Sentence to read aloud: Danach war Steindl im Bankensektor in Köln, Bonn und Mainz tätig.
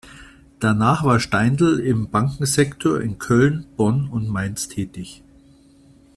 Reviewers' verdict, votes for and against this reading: accepted, 2, 0